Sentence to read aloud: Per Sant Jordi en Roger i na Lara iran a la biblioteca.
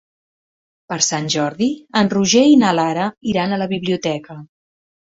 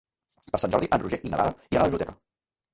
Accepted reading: first